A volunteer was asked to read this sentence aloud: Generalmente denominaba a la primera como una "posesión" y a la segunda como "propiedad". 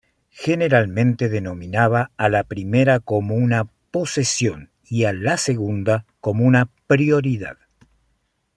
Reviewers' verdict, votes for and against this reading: rejected, 1, 2